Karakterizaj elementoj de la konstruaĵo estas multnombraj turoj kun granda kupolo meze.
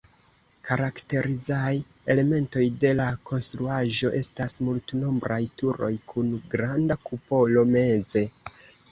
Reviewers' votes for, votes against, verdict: 2, 1, accepted